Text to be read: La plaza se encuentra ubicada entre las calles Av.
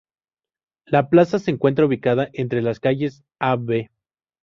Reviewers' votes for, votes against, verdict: 2, 0, accepted